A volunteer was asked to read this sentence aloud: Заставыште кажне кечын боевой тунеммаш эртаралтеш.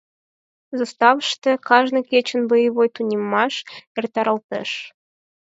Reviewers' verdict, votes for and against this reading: rejected, 0, 4